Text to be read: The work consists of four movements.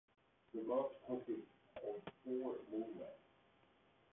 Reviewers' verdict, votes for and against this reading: rejected, 0, 2